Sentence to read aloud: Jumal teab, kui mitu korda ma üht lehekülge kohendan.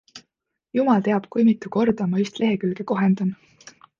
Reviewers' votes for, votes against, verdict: 2, 0, accepted